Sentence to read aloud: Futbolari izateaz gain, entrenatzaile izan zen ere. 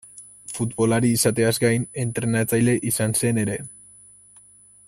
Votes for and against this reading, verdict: 2, 0, accepted